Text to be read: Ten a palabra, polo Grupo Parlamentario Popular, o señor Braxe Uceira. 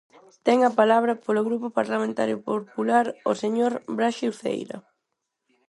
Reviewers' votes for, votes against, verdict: 0, 4, rejected